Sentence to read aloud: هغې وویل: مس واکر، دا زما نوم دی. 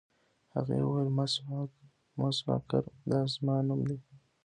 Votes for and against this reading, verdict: 1, 2, rejected